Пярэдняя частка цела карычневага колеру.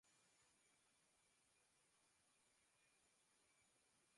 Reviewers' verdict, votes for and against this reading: rejected, 0, 2